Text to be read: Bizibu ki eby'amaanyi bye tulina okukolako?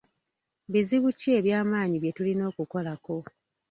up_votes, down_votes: 1, 2